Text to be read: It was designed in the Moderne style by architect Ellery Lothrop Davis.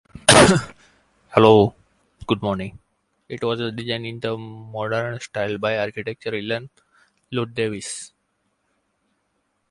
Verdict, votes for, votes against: rejected, 0, 2